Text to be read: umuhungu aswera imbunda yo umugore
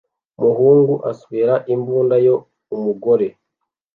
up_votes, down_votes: 2, 0